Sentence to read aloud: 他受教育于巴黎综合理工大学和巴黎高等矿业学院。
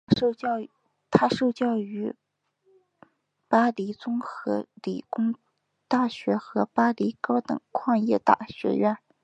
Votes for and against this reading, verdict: 2, 1, accepted